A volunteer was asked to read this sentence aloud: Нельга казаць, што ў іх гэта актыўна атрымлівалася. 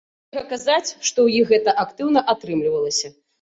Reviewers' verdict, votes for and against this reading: rejected, 1, 2